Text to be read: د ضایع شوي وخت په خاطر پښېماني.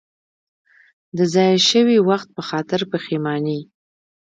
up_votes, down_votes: 0, 2